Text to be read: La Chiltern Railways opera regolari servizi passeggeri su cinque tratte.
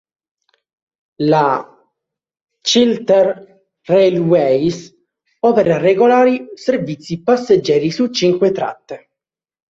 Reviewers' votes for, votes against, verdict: 1, 2, rejected